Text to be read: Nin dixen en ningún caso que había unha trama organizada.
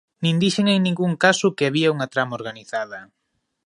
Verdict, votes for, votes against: accepted, 2, 0